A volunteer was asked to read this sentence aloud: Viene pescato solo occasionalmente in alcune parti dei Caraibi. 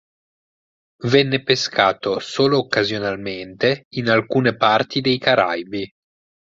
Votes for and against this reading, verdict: 0, 4, rejected